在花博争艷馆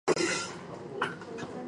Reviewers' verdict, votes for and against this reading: accepted, 3, 2